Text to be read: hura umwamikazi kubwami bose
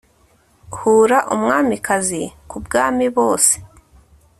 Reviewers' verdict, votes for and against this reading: rejected, 0, 2